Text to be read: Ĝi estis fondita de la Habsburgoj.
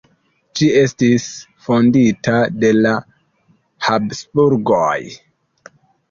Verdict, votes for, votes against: accepted, 2, 0